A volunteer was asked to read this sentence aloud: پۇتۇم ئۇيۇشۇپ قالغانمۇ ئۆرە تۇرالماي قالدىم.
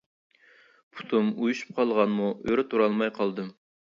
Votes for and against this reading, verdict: 3, 0, accepted